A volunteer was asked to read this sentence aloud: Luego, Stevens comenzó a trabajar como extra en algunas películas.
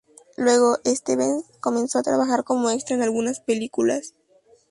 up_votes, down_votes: 0, 2